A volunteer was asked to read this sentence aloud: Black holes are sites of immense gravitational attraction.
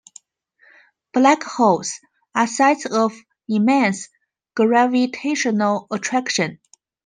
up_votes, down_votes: 2, 0